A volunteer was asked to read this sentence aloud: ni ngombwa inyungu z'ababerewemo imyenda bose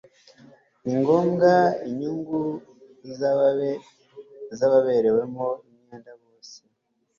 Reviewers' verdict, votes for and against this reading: rejected, 1, 2